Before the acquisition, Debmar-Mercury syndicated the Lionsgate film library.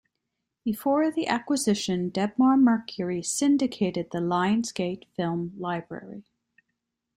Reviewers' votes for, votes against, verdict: 2, 0, accepted